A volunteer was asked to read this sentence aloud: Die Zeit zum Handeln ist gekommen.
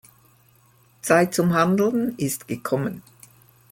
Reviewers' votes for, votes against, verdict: 0, 2, rejected